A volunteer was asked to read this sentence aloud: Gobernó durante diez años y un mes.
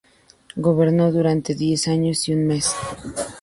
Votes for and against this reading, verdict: 2, 0, accepted